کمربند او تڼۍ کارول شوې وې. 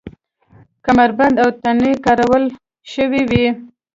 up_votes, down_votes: 2, 0